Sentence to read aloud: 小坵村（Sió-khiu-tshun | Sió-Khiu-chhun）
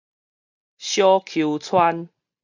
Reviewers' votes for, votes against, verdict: 2, 2, rejected